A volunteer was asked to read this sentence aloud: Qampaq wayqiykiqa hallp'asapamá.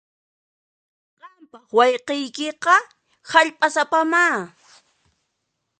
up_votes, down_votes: 2, 1